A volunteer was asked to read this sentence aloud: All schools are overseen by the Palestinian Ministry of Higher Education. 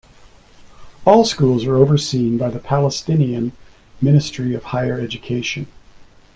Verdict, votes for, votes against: rejected, 0, 2